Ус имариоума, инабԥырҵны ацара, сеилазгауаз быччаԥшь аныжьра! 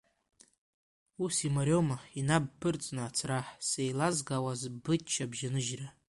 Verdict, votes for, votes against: rejected, 1, 2